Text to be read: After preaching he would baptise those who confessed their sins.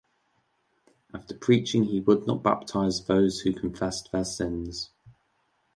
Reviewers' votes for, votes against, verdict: 2, 1, accepted